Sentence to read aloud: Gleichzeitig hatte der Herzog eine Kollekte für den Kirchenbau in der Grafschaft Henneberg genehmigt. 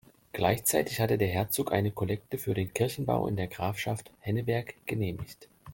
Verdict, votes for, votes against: accepted, 2, 0